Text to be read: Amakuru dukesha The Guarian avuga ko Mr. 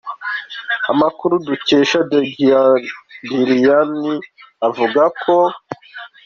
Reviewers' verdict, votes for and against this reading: rejected, 1, 2